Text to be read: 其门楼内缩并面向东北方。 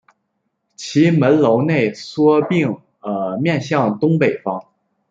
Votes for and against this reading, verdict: 0, 2, rejected